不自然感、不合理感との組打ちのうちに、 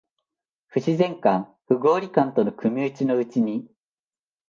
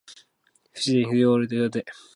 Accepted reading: first